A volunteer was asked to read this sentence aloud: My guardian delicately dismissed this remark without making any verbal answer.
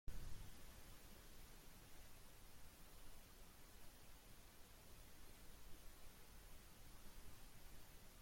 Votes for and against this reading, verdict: 0, 2, rejected